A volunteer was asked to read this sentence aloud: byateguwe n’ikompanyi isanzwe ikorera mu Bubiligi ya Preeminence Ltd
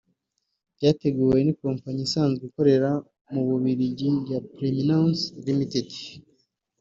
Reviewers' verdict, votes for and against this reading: accepted, 3, 0